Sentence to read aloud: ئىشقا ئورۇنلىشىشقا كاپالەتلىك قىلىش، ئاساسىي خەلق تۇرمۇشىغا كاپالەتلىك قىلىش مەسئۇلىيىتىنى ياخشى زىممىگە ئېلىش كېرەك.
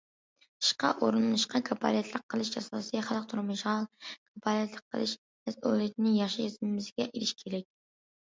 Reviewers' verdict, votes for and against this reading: rejected, 0, 2